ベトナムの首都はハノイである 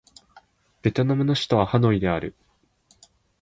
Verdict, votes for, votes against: accepted, 15, 0